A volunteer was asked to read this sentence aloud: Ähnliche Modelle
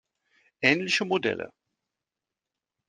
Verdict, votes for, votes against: accepted, 2, 0